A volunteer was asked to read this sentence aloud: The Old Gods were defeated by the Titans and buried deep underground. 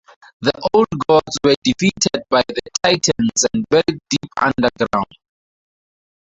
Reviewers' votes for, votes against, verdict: 0, 2, rejected